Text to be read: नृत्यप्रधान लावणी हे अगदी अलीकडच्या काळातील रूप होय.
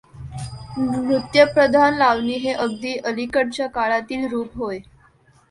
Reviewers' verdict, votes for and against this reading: accepted, 2, 0